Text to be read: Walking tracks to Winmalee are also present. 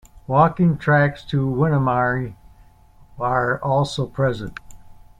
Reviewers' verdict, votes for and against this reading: accepted, 2, 1